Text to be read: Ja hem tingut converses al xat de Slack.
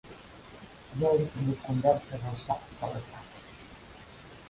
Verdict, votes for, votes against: rejected, 0, 2